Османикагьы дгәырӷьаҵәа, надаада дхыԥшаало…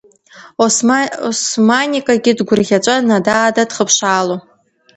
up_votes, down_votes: 1, 2